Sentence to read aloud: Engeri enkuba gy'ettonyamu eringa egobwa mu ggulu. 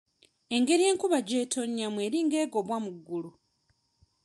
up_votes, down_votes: 2, 0